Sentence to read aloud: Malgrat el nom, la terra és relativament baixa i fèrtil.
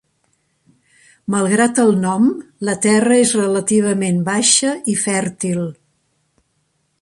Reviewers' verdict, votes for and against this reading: accepted, 3, 0